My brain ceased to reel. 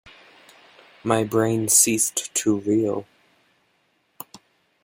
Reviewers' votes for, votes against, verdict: 2, 1, accepted